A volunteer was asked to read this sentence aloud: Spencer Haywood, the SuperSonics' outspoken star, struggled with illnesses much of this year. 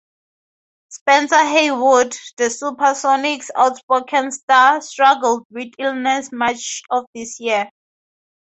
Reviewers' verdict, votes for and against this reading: accepted, 2, 0